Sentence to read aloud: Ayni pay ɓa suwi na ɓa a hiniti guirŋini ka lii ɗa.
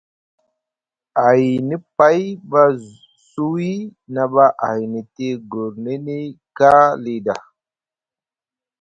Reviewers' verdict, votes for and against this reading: rejected, 0, 2